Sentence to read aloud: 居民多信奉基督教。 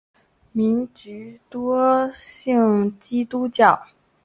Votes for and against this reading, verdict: 6, 5, accepted